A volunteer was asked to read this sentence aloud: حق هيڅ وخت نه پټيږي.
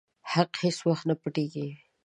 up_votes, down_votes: 2, 0